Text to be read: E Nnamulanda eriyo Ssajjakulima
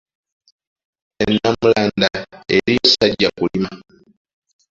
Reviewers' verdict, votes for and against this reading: rejected, 0, 2